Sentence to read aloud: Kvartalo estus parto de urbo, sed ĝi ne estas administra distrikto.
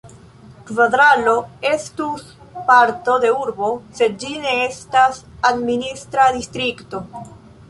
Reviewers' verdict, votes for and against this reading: rejected, 1, 3